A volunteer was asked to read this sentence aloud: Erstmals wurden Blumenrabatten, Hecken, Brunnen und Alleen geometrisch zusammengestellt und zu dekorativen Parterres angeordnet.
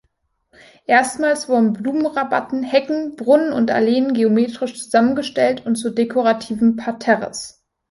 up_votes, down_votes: 0, 2